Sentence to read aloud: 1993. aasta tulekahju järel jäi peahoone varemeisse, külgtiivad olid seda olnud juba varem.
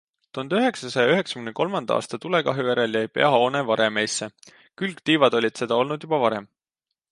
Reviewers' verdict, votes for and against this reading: rejected, 0, 2